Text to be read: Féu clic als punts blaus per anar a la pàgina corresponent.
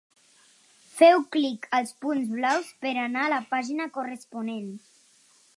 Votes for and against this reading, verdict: 4, 0, accepted